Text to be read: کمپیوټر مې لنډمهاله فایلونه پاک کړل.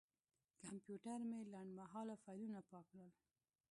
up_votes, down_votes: 1, 2